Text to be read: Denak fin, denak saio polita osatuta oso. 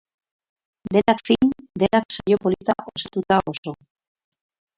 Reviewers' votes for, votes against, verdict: 2, 6, rejected